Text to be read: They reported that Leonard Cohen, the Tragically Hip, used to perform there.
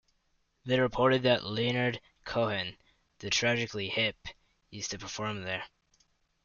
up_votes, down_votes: 1, 2